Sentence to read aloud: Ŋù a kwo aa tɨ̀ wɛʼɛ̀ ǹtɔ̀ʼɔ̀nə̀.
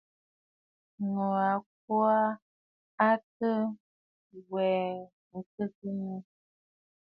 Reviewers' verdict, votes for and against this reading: rejected, 1, 2